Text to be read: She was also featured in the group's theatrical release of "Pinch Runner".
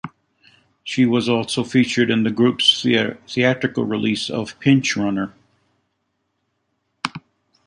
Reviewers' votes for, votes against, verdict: 1, 2, rejected